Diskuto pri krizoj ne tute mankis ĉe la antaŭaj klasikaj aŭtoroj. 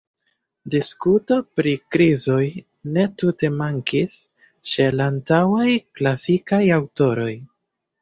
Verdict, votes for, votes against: accepted, 2, 0